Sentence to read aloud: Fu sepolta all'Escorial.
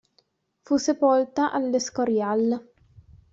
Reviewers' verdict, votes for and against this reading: accepted, 2, 1